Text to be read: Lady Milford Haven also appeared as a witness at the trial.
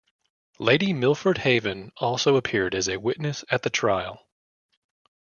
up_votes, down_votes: 1, 2